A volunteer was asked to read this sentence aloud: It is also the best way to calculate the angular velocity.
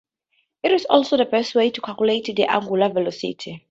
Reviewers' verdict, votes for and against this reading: rejected, 0, 4